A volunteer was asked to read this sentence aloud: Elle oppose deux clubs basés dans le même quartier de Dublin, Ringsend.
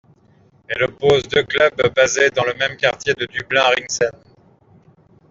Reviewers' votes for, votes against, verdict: 2, 0, accepted